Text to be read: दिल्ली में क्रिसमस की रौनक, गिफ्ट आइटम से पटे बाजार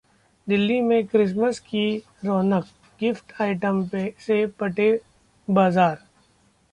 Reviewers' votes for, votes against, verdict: 0, 2, rejected